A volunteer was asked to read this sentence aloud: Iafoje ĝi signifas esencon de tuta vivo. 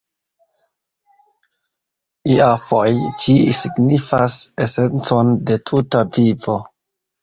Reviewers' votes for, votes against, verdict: 0, 2, rejected